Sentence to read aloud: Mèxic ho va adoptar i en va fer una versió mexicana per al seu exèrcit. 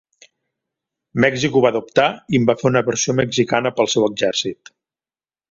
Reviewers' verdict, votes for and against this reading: rejected, 1, 2